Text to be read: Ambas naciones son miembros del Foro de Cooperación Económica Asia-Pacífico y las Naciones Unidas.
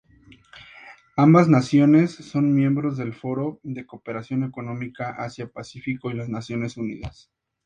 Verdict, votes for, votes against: accepted, 2, 0